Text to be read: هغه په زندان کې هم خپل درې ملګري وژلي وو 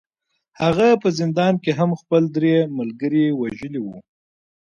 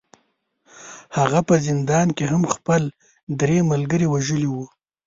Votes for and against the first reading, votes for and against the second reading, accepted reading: 2, 1, 0, 2, first